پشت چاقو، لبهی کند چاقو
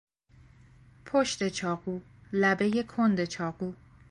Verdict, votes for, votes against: accepted, 3, 0